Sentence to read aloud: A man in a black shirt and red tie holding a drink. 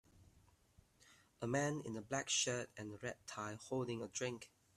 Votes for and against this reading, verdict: 2, 0, accepted